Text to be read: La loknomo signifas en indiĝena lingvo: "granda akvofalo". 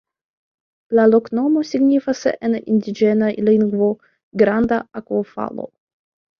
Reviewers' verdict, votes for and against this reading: accepted, 2, 0